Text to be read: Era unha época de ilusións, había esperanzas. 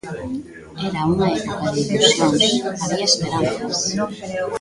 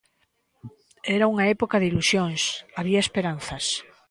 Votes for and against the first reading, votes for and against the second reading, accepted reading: 0, 2, 2, 0, second